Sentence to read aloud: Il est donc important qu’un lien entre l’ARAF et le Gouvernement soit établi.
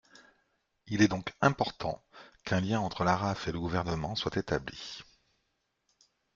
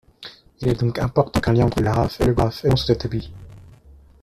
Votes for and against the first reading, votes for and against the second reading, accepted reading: 2, 0, 0, 2, first